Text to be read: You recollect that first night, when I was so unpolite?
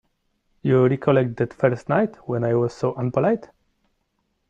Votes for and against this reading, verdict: 2, 0, accepted